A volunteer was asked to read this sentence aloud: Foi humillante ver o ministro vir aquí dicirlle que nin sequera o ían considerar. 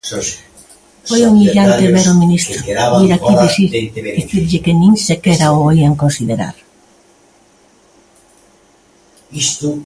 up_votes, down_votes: 0, 3